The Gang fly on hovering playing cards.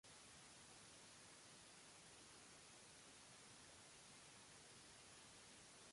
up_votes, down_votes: 0, 2